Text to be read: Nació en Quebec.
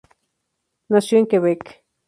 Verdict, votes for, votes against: accepted, 2, 0